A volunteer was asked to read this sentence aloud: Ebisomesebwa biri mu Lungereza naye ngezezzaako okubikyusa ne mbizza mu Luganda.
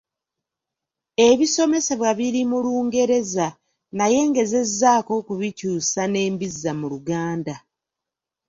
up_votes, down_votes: 3, 0